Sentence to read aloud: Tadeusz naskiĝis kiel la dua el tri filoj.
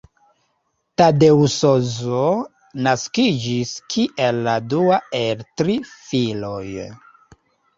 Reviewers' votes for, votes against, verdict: 1, 3, rejected